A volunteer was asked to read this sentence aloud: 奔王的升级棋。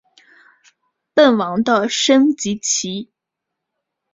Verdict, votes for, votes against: accepted, 3, 0